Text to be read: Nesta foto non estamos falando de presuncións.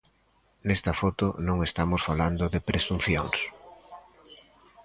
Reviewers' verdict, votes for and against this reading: accepted, 2, 0